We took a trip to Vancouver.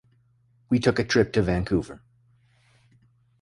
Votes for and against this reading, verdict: 2, 0, accepted